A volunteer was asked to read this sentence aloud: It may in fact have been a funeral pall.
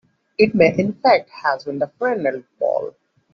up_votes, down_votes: 2, 1